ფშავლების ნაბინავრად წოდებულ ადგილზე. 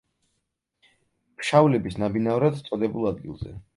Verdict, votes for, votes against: accepted, 4, 0